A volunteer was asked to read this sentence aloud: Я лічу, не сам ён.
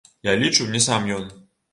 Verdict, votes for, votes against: rejected, 0, 2